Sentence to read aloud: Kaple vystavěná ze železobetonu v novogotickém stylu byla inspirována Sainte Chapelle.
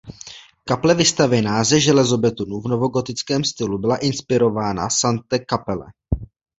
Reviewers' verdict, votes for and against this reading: rejected, 0, 2